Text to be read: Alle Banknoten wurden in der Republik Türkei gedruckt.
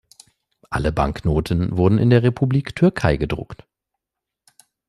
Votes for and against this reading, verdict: 2, 0, accepted